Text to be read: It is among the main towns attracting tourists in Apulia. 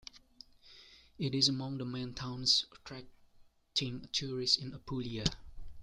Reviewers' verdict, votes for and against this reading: accepted, 2, 1